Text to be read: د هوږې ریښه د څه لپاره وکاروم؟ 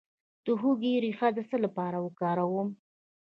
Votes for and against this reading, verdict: 1, 2, rejected